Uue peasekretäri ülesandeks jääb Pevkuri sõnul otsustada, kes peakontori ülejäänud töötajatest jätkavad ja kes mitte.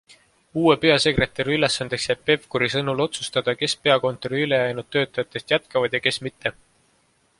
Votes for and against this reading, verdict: 2, 0, accepted